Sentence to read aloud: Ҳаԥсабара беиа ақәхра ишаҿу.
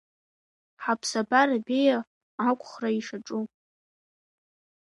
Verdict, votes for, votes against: accepted, 3, 0